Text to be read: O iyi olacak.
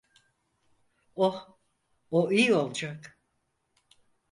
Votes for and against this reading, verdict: 2, 4, rejected